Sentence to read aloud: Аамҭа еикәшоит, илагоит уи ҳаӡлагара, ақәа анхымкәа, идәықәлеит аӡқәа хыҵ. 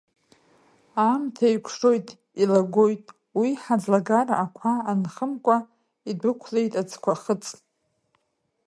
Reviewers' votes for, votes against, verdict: 1, 2, rejected